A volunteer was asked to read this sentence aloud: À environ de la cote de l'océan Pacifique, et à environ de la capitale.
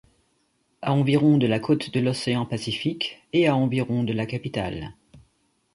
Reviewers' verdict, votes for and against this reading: accepted, 2, 0